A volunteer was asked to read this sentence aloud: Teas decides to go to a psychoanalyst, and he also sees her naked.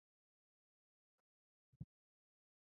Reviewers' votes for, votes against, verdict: 0, 2, rejected